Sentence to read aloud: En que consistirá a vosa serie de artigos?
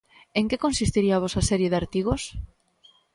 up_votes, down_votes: 0, 2